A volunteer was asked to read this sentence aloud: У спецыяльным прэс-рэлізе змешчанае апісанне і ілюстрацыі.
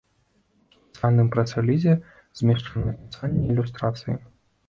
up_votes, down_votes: 0, 2